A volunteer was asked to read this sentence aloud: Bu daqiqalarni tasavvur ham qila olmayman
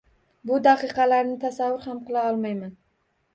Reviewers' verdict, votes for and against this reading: accepted, 2, 0